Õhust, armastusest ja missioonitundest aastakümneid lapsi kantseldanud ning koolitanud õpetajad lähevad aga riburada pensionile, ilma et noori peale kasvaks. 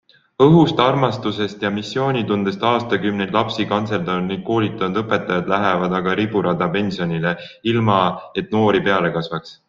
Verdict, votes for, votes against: accepted, 3, 0